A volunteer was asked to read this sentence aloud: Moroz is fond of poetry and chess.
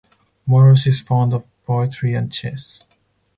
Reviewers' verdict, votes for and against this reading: accepted, 4, 0